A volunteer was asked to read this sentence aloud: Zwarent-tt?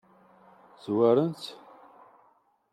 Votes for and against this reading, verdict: 2, 0, accepted